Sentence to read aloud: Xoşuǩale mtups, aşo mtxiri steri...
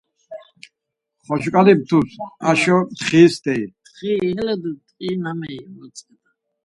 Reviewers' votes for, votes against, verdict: 0, 4, rejected